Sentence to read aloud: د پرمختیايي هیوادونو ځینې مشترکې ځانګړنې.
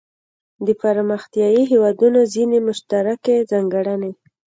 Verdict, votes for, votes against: accepted, 2, 0